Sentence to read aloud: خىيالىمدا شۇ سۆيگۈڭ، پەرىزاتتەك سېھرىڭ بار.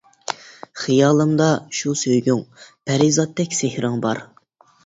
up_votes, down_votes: 2, 0